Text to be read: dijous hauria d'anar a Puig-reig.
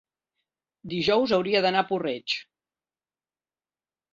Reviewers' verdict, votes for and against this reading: rejected, 2, 3